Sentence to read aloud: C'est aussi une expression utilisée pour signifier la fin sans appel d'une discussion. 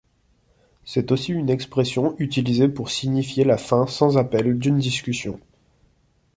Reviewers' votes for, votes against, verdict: 2, 0, accepted